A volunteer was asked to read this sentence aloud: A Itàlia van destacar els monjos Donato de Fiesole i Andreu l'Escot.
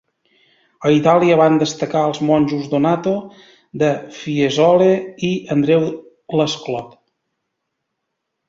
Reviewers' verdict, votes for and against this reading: rejected, 0, 2